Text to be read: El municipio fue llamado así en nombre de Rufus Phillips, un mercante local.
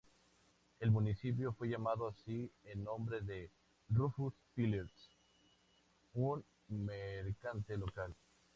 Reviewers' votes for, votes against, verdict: 2, 0, accepted